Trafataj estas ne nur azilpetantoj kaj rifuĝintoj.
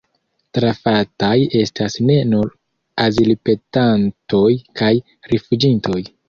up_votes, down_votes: 2, 3